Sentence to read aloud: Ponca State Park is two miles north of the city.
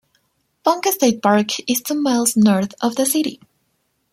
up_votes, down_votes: 1, 2